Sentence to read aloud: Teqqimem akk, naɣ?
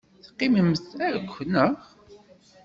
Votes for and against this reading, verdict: 0, 2, rejected